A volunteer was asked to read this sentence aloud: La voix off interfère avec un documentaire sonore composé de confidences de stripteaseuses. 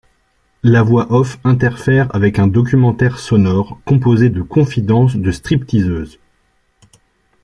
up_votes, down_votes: 2, 0